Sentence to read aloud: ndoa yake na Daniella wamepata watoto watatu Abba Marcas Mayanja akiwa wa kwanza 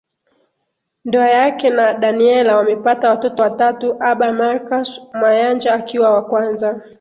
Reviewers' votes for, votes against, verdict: 0, 2, rejected